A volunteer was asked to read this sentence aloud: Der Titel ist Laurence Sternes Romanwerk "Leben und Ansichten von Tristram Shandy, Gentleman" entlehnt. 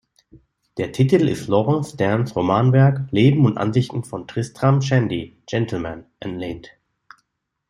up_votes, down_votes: 2, 0